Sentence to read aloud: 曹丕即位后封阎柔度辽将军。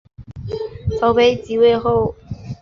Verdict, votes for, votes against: rejected, 0, 2